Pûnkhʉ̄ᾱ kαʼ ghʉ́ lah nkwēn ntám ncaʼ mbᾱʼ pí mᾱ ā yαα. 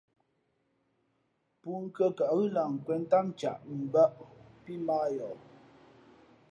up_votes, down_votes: 2, 0